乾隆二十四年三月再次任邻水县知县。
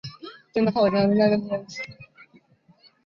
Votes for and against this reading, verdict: 0, 3, rejected